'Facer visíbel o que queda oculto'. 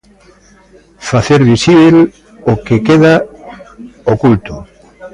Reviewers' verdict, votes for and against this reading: accepted, 2, 0